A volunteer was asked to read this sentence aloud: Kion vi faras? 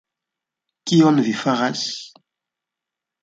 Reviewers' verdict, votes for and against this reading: rejected, 0, 2